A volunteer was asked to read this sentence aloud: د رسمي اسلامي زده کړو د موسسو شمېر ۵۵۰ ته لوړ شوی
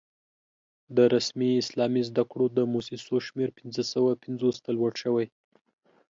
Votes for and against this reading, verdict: 0, 2, rejected